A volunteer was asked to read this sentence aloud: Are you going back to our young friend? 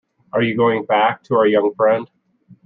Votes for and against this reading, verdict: 2, 0, accepted